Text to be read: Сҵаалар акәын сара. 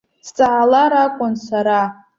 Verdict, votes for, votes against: accepted, 2, 0